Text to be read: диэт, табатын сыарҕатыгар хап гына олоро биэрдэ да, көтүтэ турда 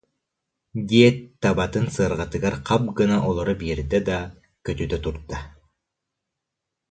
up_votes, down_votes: 2, 0